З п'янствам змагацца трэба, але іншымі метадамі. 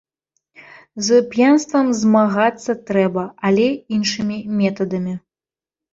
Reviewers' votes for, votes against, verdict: 3, 0, accepted